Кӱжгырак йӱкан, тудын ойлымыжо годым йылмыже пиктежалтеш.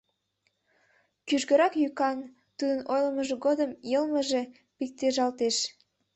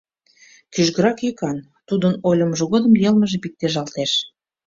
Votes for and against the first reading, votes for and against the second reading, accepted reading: 0, 2, 2, 0, second